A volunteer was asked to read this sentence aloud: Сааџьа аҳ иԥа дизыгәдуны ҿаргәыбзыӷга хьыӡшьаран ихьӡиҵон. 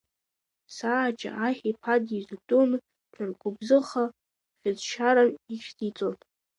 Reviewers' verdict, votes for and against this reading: rejected, 2, 4